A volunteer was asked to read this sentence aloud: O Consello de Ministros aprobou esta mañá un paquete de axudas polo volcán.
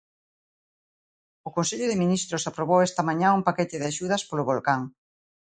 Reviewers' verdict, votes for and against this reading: accepted, 2, 0